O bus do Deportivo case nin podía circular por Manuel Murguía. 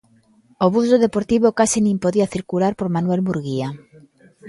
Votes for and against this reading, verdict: 2, 0, accepted